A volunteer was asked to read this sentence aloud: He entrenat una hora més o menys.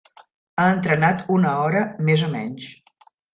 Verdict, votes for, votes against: rejected, 0, 2